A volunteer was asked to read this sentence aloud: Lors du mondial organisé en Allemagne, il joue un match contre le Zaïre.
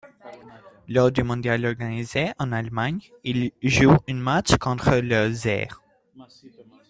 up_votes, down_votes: 2, 0